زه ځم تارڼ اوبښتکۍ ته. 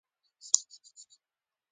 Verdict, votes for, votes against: rejected, 1, 2